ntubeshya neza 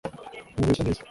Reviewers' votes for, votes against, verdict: 1, 2, rejected